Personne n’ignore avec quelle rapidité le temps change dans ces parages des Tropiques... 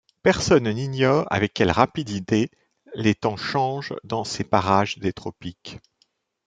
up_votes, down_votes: 0, 2